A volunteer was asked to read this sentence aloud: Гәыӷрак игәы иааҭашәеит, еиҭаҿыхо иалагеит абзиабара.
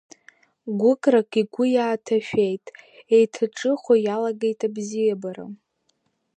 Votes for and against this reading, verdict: 2, 0, accepted